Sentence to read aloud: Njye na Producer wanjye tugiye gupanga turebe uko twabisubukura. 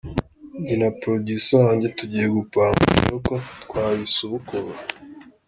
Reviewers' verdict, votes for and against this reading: accepted, 2, 0